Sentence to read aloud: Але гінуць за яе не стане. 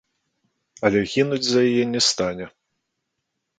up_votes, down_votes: 2, 0